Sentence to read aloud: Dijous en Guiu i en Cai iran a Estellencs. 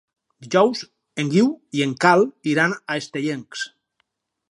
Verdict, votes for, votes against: rejected, 4, 6